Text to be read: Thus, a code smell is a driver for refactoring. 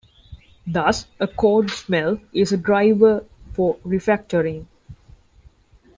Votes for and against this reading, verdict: 2, 0, accepted